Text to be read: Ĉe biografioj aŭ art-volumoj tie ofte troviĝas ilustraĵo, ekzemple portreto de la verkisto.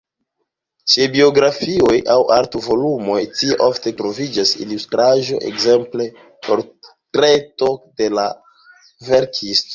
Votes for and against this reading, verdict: 1, 2, rejected